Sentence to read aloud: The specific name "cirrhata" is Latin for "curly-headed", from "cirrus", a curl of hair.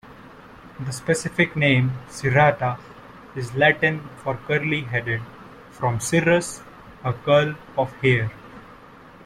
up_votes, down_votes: 2, 0